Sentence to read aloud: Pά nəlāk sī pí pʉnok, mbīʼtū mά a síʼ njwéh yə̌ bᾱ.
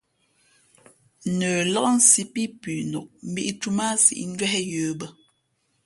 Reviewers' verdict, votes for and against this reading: accepted, 2, 0